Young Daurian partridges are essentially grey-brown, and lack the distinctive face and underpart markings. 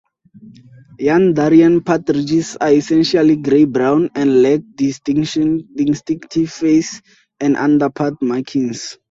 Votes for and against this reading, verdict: 2, 2, rejected